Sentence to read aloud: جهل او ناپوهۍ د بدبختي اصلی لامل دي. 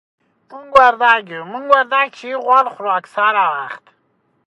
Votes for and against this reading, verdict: 0, 5, rejected